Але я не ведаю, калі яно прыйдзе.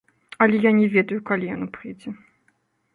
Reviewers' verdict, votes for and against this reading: accepted, 2, 0